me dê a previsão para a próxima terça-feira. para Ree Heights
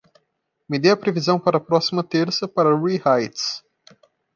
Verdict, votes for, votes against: rejected, 0, 2